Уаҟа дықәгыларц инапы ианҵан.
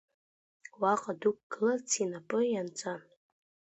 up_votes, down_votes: 1, 2